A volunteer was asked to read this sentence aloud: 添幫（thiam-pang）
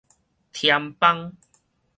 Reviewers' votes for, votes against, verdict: 2, 2, rejected